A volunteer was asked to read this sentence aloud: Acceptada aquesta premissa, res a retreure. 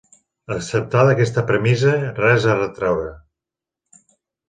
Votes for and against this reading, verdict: 3, 0, accepted